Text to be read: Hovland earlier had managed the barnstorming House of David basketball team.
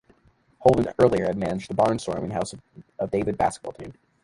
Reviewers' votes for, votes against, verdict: 1, 2, rejected